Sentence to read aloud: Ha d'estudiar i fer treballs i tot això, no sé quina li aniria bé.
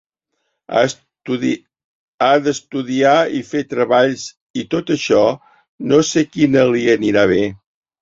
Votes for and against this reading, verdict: 0, 2, rejected